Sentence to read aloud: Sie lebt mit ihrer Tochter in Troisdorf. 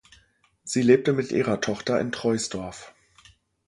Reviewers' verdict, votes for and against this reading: rejected, 0, 2